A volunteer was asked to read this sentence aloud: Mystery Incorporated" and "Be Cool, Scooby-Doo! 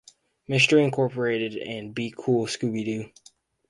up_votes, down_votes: 4, 0